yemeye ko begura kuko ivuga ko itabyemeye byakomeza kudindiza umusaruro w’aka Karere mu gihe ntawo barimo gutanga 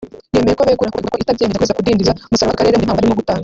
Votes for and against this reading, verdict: 0, 2, rejected